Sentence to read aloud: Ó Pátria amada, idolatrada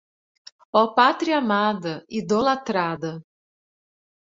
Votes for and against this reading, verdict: 2, 0, accepted